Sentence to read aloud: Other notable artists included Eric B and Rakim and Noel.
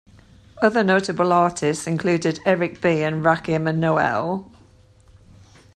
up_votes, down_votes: 2, 0